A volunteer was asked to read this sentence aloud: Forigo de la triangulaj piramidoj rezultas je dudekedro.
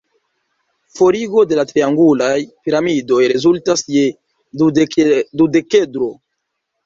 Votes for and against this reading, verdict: 0, 2, rejected